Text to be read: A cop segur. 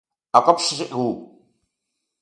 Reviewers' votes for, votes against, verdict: 1, 2, rejected